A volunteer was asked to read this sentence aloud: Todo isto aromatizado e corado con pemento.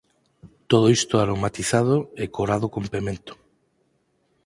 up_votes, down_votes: 4, 0